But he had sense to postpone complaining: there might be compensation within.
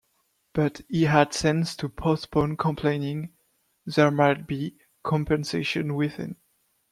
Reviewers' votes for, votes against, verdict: 2, 0, accepted